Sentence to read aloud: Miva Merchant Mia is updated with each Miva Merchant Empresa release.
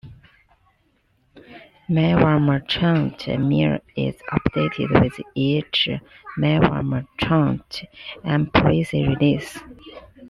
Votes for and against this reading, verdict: 0, 2, rejected